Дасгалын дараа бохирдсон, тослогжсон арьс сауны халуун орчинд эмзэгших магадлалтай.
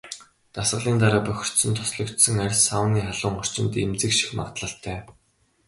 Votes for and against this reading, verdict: 2, 0, accepted